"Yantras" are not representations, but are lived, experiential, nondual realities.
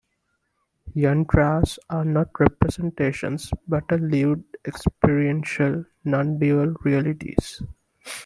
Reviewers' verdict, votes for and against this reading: accepted, 2, 0